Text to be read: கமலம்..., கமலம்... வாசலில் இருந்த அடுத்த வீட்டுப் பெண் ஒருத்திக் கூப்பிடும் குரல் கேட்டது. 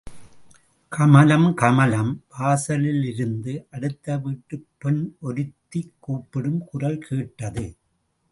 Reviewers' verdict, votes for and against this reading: rejected, 1, 2